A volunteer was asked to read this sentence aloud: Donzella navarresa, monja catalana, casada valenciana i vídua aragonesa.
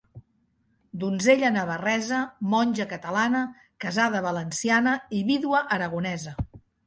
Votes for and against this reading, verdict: 2, 0, accepted